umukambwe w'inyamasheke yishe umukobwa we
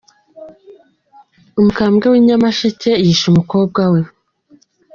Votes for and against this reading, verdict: 3, 0, accepted